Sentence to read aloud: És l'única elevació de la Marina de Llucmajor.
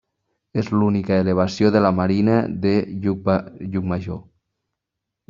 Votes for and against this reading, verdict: 0, 2, rejected